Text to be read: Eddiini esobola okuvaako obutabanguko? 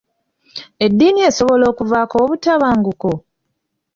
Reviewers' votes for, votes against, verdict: 2, 1, accepted